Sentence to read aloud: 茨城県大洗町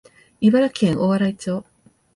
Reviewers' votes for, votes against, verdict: 2, 1, accepted